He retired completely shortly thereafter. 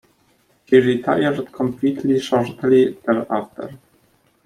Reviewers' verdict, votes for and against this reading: accepted, 2, 0